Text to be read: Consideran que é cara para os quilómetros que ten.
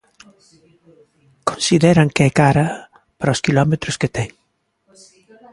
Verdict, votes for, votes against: rejected, 1, 2